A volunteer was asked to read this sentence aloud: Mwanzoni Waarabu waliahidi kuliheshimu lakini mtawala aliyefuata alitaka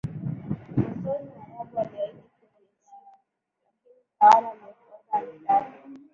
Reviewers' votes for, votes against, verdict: 0, 3, rejected